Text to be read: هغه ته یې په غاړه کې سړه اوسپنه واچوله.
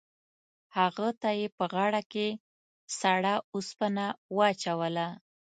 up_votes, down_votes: 2, 0